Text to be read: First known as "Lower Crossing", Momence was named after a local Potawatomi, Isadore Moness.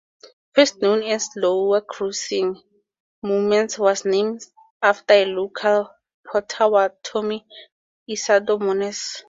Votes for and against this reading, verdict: 4, 0, accepted